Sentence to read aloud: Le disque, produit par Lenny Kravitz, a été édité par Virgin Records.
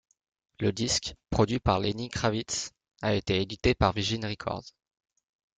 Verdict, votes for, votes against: accepted, 2, 1